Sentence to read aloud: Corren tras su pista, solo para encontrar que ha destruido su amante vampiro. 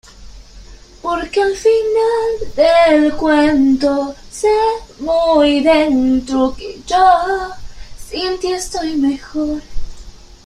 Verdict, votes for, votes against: rejected, 0, 3